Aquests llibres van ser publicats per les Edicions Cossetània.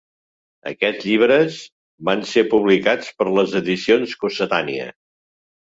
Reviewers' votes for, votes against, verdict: 3, 0, accepted